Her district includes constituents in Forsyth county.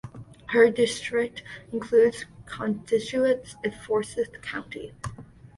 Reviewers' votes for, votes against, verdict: 1, 2, rejected